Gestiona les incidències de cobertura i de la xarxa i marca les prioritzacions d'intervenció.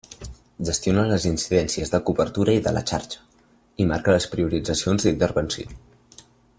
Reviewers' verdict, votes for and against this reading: accepted, 2, 1